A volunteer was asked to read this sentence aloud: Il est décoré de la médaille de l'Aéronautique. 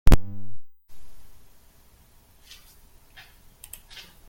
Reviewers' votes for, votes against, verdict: 0, 2, rejected